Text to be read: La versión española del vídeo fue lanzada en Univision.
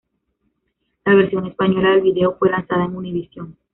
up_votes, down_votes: 1, 2